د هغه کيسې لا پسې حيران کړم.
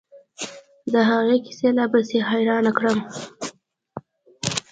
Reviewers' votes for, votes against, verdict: 2, 0, accepted